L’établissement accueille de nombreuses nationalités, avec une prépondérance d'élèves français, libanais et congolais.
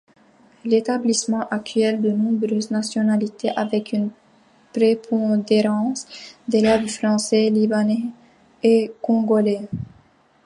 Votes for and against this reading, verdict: 1, 2, rejected